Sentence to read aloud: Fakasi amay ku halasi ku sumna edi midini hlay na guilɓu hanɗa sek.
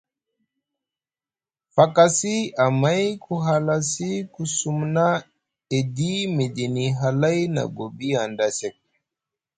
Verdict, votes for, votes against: rejected, 2, 3